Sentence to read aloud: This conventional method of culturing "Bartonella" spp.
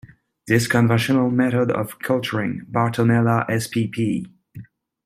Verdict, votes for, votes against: rejected, 0, 2